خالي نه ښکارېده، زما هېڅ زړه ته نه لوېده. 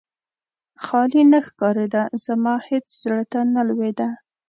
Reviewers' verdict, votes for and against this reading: accepted, 2, 0